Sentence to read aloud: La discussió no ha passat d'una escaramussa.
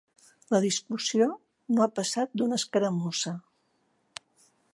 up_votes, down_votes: 2, 0